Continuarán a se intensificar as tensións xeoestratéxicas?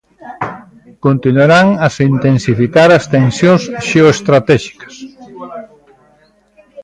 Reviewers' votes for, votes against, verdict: 2, 1, accepted